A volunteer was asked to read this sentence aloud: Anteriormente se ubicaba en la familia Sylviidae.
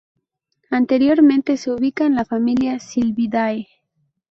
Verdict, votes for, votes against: accepted, 2, 0